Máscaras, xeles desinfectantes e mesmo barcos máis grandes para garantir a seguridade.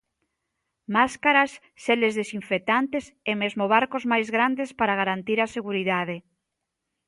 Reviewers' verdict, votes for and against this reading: accepted, 2, 0